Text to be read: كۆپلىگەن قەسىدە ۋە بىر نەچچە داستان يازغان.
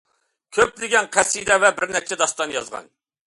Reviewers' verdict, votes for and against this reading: accepted, 2, 0